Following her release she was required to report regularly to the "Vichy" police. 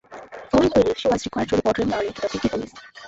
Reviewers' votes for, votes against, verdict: 1, 2, rejected